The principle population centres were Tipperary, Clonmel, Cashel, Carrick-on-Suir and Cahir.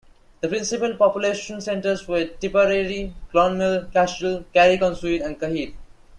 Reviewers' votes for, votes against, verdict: 2, 0, accepted